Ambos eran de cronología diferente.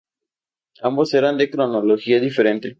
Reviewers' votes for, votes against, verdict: 2, 0, accepted